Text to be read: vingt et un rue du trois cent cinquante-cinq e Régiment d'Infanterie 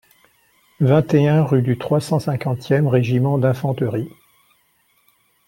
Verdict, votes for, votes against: accepted, 2, 1